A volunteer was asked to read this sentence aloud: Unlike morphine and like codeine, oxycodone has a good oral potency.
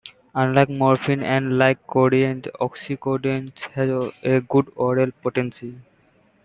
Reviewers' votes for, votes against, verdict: 1, 2, rejected